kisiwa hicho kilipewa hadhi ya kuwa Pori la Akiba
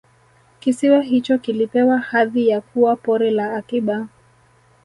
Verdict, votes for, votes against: accepted, 2, 0